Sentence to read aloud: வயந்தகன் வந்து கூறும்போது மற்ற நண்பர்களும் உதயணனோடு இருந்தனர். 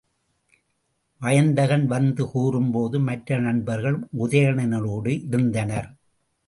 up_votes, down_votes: 2, 0